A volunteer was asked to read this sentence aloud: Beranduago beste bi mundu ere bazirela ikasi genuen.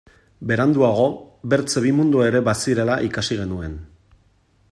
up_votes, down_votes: 0, 2